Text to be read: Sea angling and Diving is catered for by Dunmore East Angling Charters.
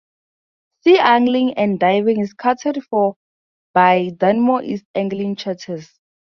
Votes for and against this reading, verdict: 2, 0, accepted